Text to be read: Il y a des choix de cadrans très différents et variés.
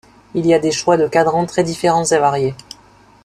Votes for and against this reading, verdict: 2, 0, accepted